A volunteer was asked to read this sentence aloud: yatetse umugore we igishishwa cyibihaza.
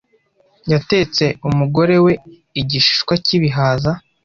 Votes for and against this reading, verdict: 2, 0, accepted